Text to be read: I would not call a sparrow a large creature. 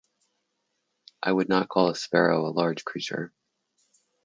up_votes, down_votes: 0, 2